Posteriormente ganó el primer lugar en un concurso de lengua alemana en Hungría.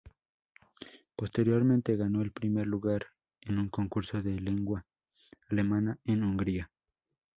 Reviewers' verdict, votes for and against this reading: rejected, 0, 2